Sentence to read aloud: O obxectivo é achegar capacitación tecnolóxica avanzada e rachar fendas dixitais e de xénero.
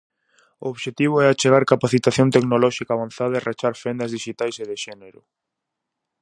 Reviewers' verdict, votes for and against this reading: accepted, 4, 0